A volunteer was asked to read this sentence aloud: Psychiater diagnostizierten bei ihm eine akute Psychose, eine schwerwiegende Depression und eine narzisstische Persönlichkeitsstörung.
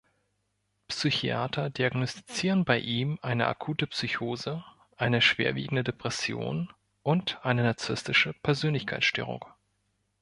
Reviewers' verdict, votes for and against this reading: rejected, 1, 2